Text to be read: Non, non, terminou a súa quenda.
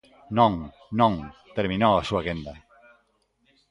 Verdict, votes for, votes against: rejected, 1, 2